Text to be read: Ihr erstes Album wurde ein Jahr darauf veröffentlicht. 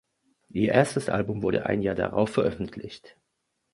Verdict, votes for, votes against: accepted, 2, 0